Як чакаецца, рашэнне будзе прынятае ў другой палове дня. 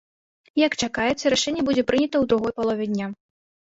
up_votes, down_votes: 0, 2